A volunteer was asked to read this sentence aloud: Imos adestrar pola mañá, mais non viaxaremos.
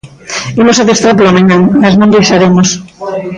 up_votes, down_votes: 2, 1